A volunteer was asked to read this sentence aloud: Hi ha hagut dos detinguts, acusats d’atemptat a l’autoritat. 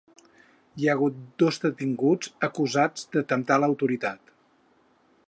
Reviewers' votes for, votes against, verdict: 4, 6, rejected